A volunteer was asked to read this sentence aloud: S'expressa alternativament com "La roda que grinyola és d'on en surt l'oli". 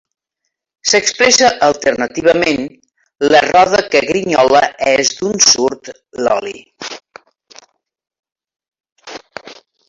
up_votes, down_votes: 0, 2